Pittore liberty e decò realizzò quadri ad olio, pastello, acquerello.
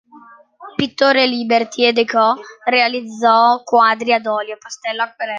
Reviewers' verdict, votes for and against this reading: accepted, 2, 1